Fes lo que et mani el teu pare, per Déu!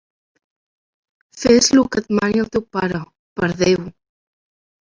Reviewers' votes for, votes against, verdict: 2, 0, accepted